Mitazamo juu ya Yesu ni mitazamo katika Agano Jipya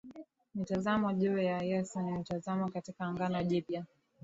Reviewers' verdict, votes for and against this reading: accepted, 2, 0